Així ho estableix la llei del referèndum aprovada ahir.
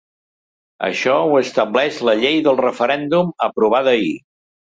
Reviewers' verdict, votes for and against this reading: rejected, 1, 2